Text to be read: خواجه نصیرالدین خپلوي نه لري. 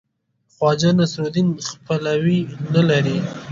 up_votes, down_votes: 2, 1